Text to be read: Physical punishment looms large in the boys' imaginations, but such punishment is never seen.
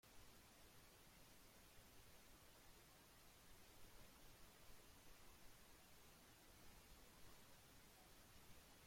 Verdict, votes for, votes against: rejected, 0, 2